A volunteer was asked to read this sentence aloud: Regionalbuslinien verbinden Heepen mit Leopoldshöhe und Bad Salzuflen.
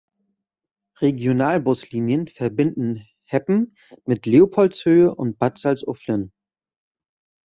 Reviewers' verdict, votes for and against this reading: rejected, 0, 2